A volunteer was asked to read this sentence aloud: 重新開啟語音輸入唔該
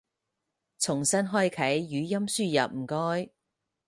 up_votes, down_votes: 4, 0